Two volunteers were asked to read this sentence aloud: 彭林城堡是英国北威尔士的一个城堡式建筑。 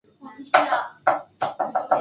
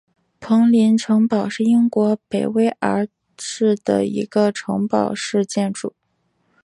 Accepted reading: second